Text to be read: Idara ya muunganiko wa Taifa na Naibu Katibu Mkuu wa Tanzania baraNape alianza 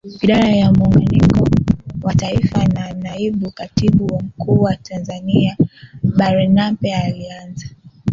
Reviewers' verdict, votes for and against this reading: rejected, 0, 2